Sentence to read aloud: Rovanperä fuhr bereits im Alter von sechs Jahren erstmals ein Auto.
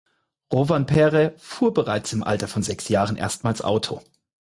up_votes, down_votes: 2, 4